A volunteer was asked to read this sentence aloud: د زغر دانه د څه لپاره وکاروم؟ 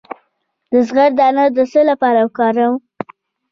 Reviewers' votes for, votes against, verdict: 1, 2, rejected